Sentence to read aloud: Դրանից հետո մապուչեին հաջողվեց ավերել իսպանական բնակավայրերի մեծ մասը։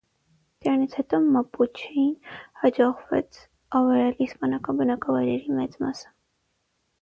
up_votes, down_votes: 3, 6